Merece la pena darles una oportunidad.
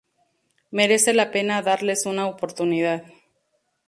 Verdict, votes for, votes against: accepted, 2, 0